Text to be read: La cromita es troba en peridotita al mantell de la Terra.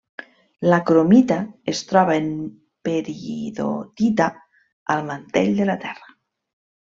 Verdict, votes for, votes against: rejected, 0, 2